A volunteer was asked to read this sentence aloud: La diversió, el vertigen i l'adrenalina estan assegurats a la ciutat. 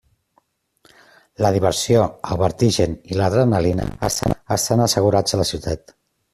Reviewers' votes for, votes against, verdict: 0, 2, rejected